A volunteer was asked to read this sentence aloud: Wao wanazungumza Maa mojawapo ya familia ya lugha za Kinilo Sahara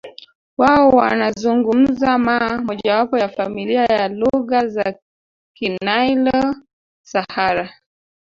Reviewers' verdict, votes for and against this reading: rejected, 0, 2